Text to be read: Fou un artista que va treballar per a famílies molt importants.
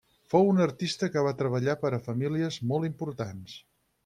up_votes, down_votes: 6, 0